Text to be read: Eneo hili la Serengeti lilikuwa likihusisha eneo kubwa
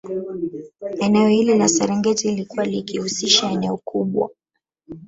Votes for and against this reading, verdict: 2, 3, rejected